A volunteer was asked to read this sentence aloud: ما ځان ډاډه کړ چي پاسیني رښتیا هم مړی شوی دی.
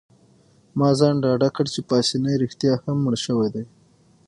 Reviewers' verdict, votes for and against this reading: rejected, 0, 6